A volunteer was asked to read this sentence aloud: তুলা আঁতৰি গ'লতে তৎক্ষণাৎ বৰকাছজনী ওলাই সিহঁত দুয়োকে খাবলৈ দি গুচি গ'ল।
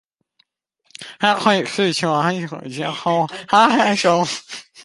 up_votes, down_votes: 0, 2